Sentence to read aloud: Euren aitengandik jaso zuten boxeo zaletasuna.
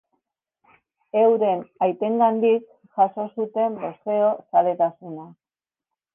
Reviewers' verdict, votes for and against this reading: accepted, 3, 0